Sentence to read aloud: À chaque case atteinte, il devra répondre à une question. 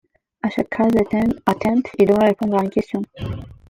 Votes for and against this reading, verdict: 0, 2, rejected